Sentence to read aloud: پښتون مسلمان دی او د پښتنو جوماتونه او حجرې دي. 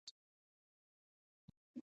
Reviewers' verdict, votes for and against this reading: rejected, 0, 2